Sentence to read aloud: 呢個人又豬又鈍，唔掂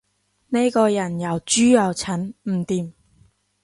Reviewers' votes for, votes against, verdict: 1, 2, rejected